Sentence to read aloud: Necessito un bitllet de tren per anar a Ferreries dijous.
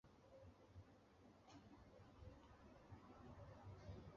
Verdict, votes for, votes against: rejected, 0, 2